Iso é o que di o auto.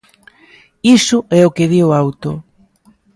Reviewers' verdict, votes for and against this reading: accepted, 2, 0